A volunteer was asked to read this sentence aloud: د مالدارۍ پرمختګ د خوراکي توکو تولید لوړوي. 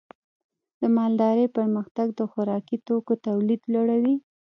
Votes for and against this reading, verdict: 0, 2, rejected